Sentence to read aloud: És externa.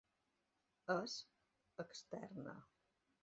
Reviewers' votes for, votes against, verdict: 0, 2, rejected